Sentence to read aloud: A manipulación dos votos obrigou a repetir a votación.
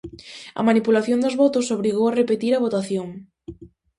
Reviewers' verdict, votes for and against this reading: accepted, 2, 0